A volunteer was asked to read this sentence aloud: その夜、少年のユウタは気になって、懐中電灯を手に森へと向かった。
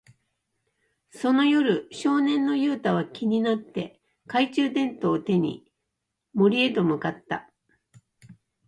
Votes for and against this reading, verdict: 1, 2, rejected